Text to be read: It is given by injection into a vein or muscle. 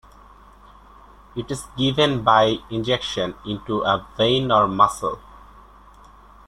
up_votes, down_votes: 2, 0